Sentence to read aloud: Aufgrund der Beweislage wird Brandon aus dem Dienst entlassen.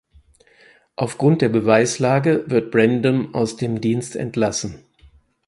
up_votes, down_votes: 4, 0